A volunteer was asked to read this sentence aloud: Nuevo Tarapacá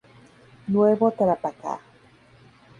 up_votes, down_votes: 2, 0